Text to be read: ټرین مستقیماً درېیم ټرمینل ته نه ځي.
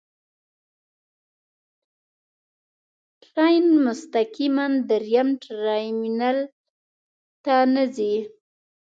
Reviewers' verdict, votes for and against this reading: rejected, 1, 2